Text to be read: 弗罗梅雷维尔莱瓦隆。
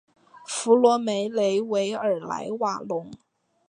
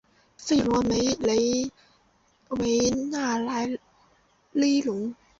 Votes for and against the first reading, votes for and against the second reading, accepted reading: 2, 1, 0, 2, first